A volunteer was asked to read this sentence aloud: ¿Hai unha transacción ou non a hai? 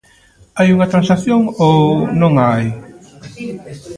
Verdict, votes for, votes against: accepted, 2, 0